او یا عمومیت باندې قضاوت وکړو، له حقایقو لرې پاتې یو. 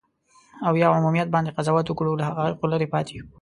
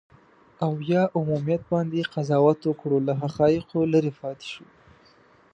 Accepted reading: first